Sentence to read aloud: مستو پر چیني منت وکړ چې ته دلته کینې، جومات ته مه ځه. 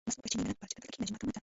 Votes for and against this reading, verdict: 1, 2, rejected